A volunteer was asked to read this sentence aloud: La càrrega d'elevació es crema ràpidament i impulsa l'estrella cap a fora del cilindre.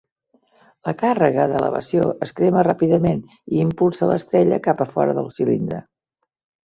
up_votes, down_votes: 1, 2